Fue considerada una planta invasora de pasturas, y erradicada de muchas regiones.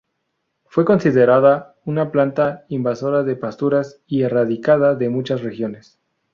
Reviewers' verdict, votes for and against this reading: rejected, 0, 2